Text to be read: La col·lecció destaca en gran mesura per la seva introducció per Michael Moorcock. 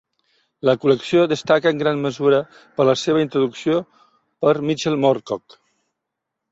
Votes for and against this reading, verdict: 0, 2, rejected